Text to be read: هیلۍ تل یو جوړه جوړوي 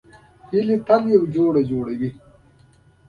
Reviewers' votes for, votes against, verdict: 0, 2, rejected